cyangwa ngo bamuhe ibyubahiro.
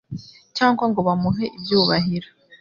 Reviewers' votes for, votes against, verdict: 3, 0, accepted